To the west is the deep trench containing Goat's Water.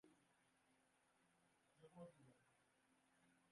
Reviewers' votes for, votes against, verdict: 0, 2, rejected